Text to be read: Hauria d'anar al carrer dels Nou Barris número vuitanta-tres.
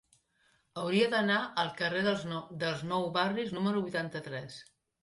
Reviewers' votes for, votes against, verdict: 0, 2, rejected